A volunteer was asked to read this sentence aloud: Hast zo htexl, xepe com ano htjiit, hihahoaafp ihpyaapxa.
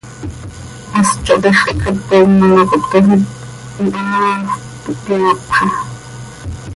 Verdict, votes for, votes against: rejected, 1, 2